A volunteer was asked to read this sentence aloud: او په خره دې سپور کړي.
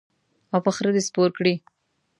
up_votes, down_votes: 2, 0